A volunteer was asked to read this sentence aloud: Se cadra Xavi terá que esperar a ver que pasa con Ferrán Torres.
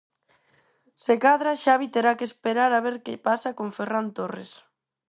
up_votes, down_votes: 4, 0